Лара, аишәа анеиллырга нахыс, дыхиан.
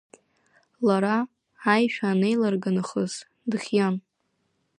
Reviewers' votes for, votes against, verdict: 2, 0, accepted